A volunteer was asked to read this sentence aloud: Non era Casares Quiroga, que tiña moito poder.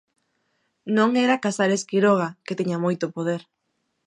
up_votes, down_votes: 2, 0